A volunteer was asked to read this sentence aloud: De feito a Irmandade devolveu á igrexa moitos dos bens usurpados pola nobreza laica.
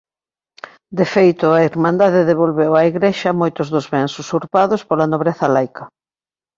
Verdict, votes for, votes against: accepted, 2, 0